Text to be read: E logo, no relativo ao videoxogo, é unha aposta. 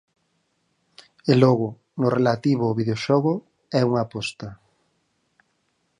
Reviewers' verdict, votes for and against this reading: accepted, 4, 0